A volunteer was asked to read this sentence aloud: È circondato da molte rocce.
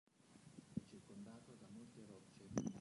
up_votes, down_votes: 0, 3